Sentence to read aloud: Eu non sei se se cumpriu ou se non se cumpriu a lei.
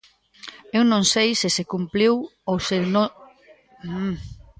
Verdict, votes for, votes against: rejected, 0, 2